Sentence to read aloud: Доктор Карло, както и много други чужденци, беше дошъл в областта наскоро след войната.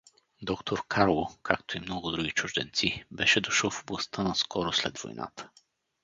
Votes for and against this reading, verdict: 4, 0, accepted